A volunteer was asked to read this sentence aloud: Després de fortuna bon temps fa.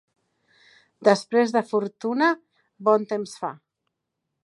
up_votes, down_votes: 2, 0